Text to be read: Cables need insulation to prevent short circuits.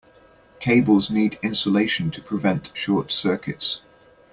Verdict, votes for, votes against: accepted, 2, 0